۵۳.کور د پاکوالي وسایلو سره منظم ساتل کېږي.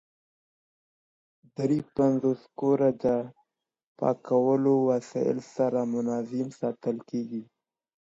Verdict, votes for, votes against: rejected, 0, 2